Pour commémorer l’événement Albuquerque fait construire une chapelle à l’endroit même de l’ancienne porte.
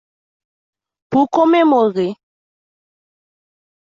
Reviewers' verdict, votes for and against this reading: rejected, 0, 2